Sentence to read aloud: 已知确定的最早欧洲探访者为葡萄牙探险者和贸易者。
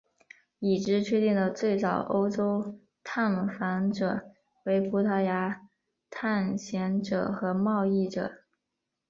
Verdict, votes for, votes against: accepted, 4, 0